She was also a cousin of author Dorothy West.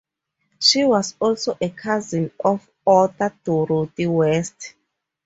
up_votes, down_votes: 4, 0